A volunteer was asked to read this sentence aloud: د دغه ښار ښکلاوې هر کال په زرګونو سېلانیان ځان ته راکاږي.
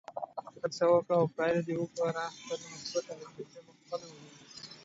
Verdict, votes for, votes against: rejected, 0, 2